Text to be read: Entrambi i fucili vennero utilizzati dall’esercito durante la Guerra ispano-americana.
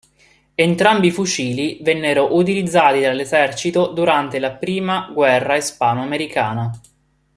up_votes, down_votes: 0, 2